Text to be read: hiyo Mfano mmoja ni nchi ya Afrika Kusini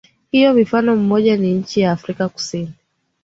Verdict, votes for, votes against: accepted, 2, 0